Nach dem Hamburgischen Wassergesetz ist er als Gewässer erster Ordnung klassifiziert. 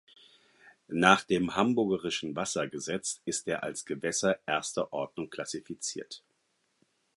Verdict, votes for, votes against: rejected, 2, 4